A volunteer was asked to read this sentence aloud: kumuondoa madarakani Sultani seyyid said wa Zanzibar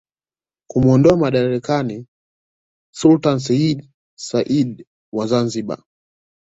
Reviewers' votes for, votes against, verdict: 2, 0, accepted